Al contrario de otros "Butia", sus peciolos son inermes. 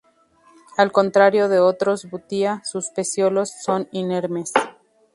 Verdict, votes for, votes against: accepted, 2, 0